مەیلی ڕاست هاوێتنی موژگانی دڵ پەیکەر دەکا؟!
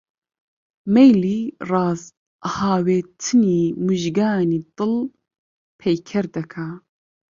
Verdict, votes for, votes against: accepted, 2, 1